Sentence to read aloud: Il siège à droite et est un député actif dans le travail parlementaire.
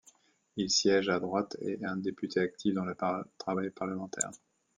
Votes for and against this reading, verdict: 1, 2, rejected